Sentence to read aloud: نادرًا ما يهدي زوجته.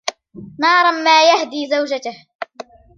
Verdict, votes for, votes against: rejected, 0, 2